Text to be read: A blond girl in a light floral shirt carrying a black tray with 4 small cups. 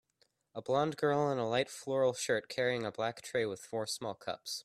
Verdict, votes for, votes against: rejected, 0, 2